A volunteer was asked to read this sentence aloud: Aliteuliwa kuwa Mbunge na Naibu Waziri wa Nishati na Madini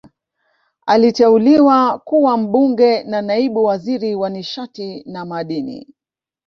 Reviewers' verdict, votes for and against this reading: rejected, 1, 2